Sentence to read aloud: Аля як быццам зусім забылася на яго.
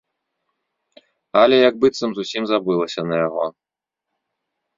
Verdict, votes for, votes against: accepted, 2, 0